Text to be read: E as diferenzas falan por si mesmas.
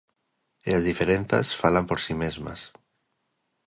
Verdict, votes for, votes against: accepted, 2, 0